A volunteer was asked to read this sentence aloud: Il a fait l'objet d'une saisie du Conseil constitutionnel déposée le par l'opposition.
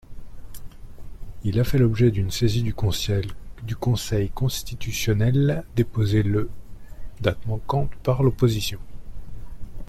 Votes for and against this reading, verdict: 1, 2, rejected